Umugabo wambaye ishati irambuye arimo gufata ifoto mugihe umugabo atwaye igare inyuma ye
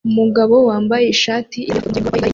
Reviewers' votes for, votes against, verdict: 0, 2, rejected